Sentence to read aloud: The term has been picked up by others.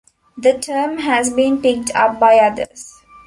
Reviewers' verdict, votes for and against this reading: accepted, 2, 0